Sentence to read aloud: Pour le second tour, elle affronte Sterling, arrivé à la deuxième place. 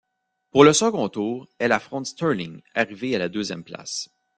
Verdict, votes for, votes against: accepted, 2, 0